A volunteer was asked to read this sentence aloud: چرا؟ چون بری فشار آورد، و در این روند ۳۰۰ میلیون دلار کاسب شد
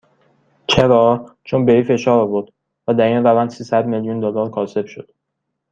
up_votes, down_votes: 0, 2